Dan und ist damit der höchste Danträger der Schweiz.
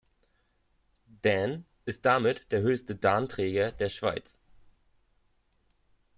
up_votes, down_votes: 0, 2